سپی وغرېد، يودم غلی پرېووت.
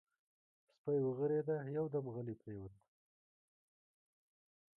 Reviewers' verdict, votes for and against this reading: rejected, 1, 2